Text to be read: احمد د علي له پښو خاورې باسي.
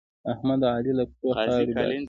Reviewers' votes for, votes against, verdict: 2, 0, accepted